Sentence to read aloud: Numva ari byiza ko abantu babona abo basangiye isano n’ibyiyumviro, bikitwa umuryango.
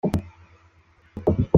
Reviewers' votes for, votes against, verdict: 0, 3, rejected